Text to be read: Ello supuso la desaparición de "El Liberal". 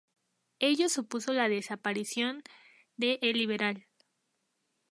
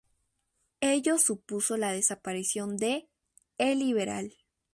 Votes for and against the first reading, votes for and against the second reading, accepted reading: 2, 0, 0, 2, first